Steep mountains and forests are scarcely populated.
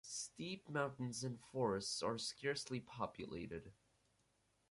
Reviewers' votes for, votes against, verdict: 4, 0, accepted